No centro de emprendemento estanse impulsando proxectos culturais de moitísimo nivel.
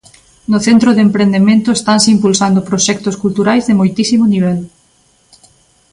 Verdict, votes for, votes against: accepted, 2, 0